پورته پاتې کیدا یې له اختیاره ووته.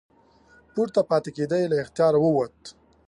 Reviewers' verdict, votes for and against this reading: rejected, 1, 2